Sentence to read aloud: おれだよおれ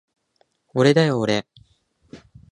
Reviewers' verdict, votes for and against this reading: accepted, 2, 0